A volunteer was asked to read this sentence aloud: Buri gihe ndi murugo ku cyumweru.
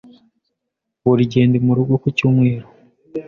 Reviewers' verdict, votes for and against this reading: accepted, 2, 0